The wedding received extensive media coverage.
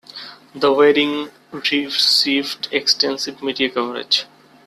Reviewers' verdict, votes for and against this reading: rejected, 1, 2